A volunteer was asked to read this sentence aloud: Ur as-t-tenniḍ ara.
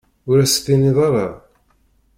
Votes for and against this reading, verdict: 1, 2, rejected